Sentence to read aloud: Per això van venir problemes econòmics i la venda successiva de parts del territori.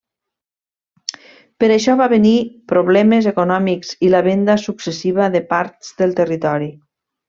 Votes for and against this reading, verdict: 1, 2, rejected